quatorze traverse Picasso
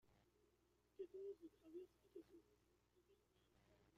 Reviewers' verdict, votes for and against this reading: rejected, 0, 2